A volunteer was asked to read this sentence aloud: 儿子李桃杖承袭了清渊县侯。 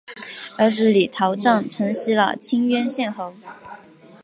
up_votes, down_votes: 2, 0